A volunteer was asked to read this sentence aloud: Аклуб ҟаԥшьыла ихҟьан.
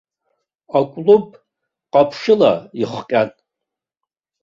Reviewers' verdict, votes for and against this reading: rejected, 1, 2